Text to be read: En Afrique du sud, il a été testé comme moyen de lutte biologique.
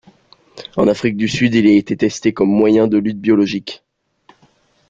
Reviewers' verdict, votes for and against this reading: rejected, 0, 2